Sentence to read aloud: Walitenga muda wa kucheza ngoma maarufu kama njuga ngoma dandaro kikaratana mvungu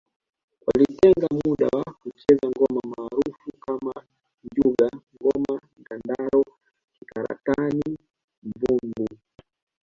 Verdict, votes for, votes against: accepted, 2, 1